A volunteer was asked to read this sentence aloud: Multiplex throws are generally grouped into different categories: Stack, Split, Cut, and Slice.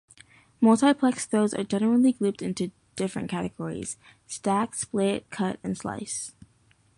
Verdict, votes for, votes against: accepted, 2, 0